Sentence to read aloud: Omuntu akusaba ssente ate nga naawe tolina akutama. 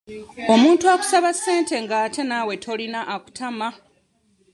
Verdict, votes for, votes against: accepted, 2, 0